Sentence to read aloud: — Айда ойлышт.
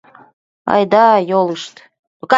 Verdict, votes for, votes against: rejected, 0, 2